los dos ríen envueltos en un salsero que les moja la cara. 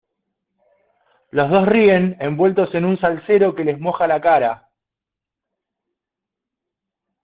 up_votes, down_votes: 2, 1